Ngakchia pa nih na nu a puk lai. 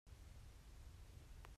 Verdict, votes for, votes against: rejected, 1, 2